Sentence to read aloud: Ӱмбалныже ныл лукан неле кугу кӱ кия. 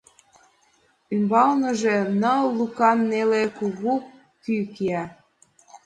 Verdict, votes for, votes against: accepted, 2, 0